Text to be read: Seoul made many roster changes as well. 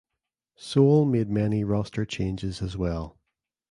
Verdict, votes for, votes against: accepted, 2, 0